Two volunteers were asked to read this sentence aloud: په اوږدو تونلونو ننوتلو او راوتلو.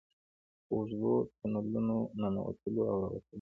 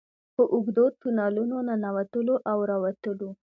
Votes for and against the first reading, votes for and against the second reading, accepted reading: 1, 2, 2, 0, second